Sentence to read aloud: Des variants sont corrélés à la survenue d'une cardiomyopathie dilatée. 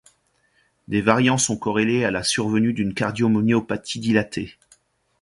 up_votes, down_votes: 1, 2